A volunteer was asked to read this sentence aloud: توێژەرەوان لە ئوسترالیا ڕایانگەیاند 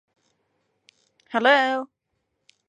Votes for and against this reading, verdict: 0, 2, rejected